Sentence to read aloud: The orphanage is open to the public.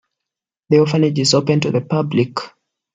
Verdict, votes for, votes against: accepted, 2, 0